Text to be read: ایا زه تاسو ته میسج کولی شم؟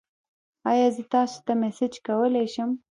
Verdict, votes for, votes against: rejected, 1, 2